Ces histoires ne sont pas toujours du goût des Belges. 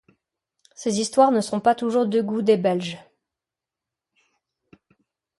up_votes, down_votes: 0, 2